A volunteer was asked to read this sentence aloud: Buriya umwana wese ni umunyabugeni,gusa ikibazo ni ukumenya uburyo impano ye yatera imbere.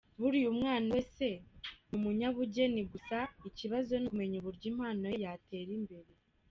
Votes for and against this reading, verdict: 0, 2, rejected